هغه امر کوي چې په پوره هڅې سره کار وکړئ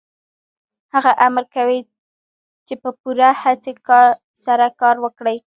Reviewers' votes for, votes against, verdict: 1, 2, rejected